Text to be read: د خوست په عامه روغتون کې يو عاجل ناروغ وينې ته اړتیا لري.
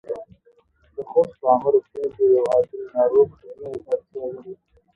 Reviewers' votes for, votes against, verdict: 1, 2, rejected